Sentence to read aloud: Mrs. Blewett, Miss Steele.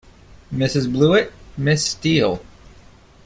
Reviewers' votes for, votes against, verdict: 2, 0, accepted